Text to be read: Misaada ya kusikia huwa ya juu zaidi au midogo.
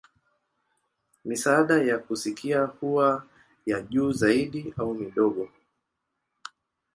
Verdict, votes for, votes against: accepted, 2, 0